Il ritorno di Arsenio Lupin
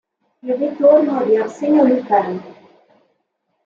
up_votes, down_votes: 2, 0